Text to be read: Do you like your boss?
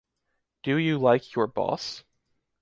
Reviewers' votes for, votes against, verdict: 2, 0, accepted